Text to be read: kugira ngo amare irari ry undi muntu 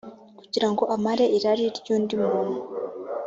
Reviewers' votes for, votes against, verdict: 2, 0, accepted